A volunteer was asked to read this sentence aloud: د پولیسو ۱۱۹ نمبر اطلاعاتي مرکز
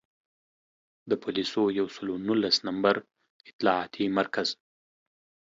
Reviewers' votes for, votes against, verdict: 0, 2, rejected